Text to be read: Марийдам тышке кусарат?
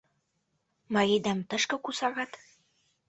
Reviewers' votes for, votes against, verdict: 0, 2, rejected